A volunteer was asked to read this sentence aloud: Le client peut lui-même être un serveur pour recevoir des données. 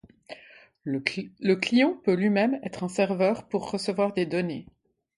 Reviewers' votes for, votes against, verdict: 1, 2, rejected